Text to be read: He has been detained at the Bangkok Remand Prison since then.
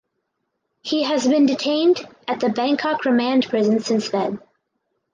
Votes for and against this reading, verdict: 4, 0, accepted